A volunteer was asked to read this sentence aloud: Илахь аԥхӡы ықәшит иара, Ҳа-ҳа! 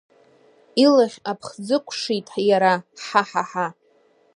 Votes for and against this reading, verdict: 0, 2, rejected